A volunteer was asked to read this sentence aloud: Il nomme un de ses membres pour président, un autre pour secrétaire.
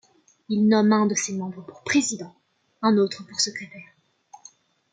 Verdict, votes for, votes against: accepted, 2, 0